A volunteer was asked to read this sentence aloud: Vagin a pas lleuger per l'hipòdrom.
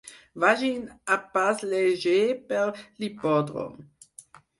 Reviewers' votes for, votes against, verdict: 4, 0, accepted